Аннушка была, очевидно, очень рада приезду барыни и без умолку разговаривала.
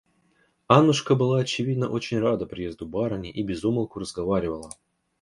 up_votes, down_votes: 2, 0